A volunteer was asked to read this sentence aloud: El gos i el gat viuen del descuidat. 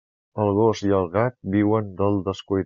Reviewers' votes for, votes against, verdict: 0, 2, rejected